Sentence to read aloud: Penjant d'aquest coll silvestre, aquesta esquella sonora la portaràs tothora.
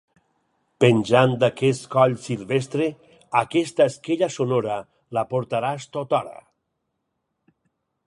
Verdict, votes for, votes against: accepted, 4, 0